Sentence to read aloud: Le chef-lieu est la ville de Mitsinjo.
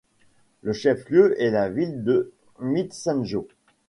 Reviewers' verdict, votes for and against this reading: rejected, 0, 2